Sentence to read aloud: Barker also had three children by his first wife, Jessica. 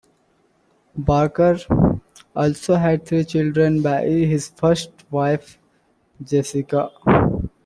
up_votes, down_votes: 1, 2